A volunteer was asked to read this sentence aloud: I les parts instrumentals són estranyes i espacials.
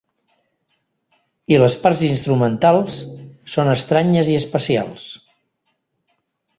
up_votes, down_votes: 4, 0